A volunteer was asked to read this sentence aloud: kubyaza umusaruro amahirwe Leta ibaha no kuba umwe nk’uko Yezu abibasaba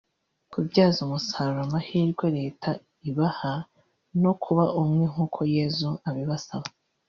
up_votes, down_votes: 0, 2